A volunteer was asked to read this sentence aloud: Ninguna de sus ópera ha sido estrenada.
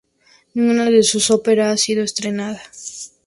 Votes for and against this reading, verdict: 2, 0, accepted